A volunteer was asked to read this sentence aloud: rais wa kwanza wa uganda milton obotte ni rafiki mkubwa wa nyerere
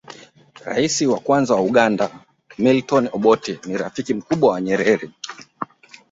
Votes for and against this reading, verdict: 2, 0, accepted